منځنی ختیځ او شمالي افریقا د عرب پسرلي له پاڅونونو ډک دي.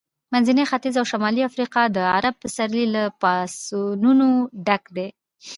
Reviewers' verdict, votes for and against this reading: accepted, 2, 0